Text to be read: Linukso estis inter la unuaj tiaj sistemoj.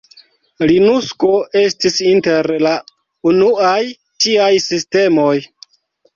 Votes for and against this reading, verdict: 2, 0, accepted